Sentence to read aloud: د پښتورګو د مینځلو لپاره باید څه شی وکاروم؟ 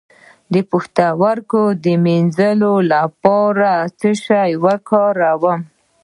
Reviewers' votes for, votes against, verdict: 0, 2, rejected